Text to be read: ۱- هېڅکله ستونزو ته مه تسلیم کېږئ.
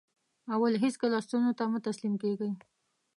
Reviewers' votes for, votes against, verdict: 0, 2, rejected